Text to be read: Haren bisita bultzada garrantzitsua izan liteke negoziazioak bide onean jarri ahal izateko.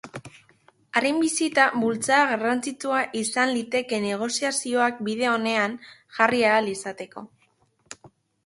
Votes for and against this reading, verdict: 2, 0, accepted